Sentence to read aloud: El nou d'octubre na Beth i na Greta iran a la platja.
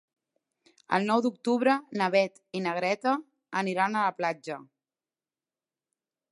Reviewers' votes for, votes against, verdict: 0, 2, rejected